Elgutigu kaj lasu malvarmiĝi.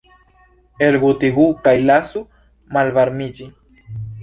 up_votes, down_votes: 1, 2